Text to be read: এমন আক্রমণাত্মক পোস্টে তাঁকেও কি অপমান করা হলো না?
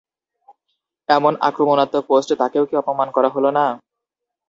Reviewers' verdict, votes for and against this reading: rejected, 0, 2